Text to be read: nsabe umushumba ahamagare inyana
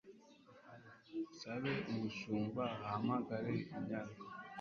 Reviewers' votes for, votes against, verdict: 2, 0, accepted